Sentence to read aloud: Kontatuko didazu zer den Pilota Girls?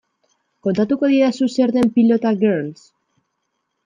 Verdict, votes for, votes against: accepted, 2, 0